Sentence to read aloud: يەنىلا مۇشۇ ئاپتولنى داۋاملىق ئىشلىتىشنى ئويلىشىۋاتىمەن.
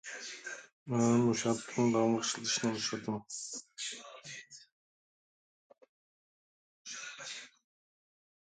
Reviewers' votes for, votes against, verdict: 0, 2, rejected